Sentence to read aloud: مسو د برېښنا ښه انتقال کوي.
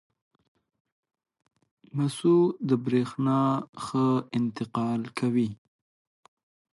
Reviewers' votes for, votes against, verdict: 2, 0, accepted